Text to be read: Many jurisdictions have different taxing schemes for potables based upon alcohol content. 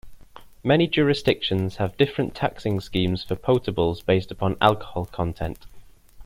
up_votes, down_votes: 2, 0